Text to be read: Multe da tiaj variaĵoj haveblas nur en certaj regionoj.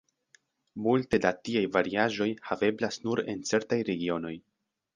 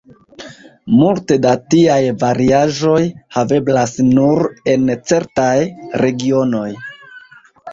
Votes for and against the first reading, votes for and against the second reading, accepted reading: 2, 0, 1, 2, first